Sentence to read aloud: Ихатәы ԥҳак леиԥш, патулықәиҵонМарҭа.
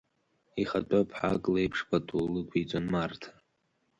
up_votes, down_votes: 2, 0